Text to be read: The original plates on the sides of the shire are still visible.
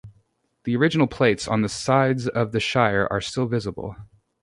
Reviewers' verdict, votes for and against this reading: accepted, 2, 0